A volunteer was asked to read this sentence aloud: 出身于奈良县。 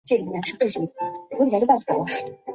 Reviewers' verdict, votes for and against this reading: rejected, 2, 5